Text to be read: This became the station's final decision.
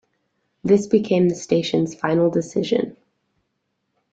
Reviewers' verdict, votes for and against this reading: accepted, 2, 0